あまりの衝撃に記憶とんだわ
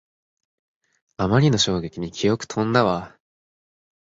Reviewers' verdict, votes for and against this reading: accepted, 4, 2